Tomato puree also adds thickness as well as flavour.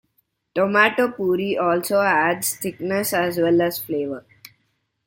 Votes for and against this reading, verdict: 2, 0, accepted